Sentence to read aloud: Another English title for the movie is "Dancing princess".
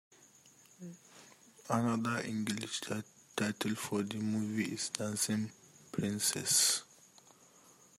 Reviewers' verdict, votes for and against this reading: rejected, 0, 2